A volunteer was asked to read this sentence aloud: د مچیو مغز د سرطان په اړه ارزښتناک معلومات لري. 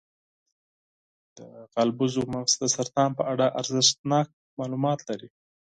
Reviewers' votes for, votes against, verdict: 0, 4, rejected